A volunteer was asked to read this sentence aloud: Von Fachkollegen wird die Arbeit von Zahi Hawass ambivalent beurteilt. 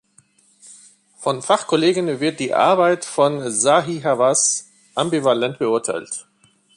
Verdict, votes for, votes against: accepted, 2, 0